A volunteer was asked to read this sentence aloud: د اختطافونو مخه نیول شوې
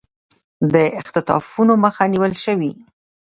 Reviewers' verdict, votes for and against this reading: rejected, 1, 2